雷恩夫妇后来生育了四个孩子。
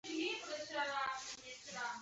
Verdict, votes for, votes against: rejected, 1, 3